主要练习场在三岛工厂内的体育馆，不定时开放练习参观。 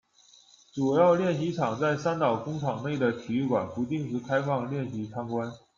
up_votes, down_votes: 2, 0